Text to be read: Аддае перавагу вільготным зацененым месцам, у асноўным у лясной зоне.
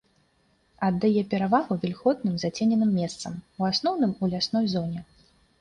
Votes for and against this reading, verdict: 2, 0, accepted